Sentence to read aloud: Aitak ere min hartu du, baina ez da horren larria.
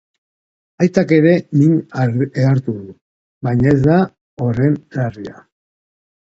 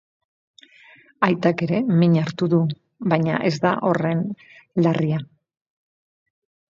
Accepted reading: second